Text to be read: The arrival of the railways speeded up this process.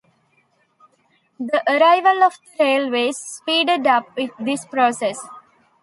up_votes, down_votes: 0, 2